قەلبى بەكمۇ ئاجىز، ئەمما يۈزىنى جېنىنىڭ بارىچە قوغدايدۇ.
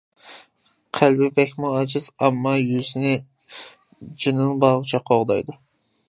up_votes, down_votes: 0, 2